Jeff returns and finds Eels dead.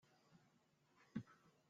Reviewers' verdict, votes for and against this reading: rejected, 0, 2